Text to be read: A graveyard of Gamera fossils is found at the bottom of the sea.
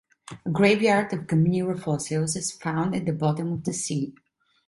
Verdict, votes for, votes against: rejected, 1, 2